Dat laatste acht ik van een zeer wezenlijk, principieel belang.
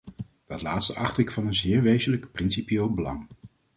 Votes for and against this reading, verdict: 2, 0, accepted